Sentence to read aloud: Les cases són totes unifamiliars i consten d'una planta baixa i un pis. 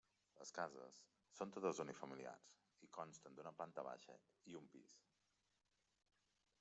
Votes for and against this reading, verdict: 2, 1, accepted